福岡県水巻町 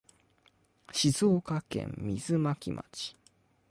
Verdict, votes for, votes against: rejected, 0, 2